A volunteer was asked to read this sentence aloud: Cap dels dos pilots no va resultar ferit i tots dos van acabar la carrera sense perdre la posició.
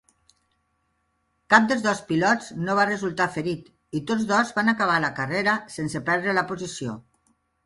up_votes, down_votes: 3, 0